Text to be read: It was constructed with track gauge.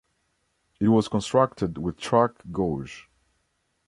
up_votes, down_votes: 1, 2